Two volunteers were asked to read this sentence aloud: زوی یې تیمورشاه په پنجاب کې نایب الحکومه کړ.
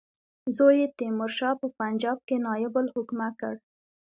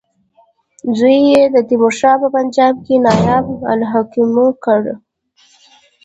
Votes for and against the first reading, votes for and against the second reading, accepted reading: 2, 0, 1, 2, first